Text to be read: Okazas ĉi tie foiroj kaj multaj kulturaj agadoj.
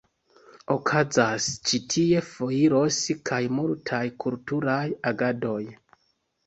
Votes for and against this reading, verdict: 0, 2, rejected